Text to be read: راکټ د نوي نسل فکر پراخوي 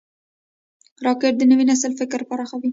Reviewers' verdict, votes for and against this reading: rejected, 0, 2